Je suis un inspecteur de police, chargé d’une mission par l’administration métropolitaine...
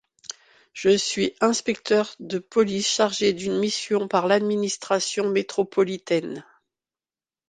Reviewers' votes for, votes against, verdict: 0, 2, rejected